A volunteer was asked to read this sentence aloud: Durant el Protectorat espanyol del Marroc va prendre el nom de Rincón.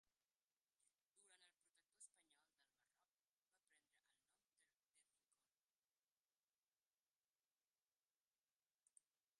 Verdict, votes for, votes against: rejected, 0, 2